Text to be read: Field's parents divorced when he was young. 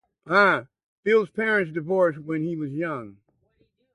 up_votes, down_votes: 0, 2